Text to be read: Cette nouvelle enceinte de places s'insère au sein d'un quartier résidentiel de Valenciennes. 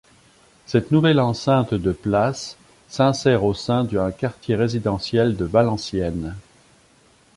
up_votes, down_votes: 2, 0